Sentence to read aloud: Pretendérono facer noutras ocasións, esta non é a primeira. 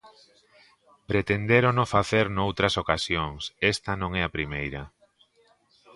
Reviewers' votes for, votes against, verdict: 2, 0, accepted